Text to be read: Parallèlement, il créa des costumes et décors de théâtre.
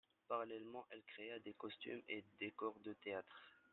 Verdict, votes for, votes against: accepted, 2, 1